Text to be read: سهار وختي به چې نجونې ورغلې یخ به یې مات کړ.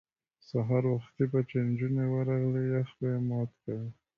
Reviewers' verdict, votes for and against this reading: rejected, 1, 2